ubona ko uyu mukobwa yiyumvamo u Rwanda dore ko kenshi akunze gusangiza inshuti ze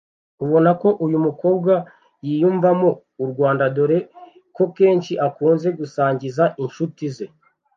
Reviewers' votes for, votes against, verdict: 1, 2, rejected